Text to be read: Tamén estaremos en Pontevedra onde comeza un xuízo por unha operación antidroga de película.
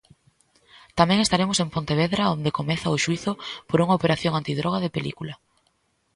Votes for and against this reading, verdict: 0, 2, rejected